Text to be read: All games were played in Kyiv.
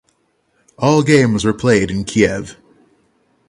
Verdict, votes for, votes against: accepted, 6, 0